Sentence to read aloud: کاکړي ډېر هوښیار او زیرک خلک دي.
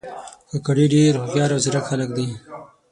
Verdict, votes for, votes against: rejected, 3, 6